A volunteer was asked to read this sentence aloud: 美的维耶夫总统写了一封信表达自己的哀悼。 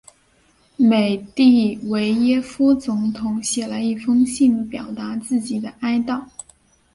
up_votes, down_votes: 4, 0